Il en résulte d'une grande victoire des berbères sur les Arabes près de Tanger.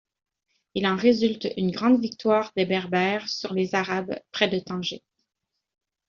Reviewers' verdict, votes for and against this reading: rejected, 1, 2